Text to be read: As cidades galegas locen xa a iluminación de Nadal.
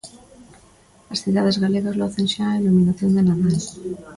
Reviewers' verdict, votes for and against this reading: rejected, 1, 2